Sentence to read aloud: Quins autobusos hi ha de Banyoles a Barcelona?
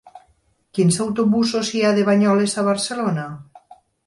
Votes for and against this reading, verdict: 6, 0, accepted